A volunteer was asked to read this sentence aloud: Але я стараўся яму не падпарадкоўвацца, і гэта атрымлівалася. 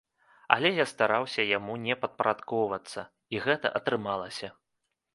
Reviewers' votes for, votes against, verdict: 0, 2, rejected